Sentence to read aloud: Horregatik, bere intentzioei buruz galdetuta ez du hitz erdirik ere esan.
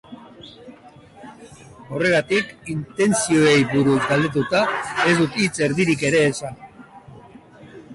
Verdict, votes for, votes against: rejected, 0, 2